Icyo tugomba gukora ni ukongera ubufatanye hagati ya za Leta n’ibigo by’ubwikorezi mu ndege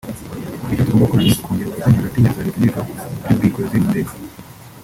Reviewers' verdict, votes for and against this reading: rejected, 0, 2